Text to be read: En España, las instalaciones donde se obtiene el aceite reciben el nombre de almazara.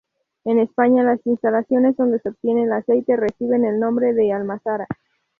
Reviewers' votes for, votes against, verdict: 0, 2, rejected